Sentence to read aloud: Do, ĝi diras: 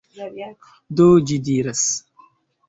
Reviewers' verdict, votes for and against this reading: accepted, 2, 0